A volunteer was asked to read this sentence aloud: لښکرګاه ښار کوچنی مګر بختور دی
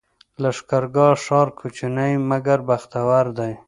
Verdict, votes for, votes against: accepted, 2, 0